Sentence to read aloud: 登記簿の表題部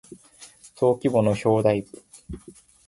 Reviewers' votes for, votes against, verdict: 2, 0, accepted